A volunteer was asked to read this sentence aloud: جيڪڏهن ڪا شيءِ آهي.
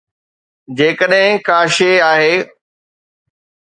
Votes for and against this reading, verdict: 2, 0, accepted